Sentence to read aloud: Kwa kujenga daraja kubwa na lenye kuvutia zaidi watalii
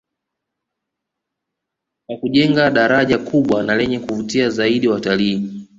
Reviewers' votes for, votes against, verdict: 2, 0, accepted